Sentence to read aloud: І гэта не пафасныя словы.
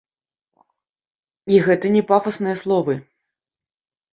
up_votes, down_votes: 2, 0